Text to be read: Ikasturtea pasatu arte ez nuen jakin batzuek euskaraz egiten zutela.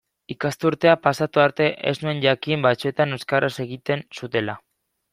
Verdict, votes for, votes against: rejected, 1, 2